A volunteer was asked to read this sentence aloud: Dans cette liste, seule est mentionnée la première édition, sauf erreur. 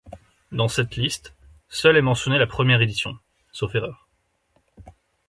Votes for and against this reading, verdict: 2, 0, accepted